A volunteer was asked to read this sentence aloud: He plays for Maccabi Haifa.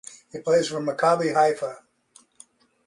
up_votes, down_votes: 2, 0